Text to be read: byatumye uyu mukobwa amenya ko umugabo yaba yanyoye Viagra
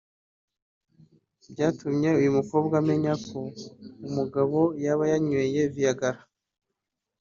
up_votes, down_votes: 2, 0